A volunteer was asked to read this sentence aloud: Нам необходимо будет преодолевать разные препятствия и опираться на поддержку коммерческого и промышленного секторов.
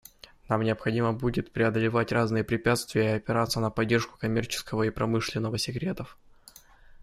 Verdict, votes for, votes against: rejected, 0, 2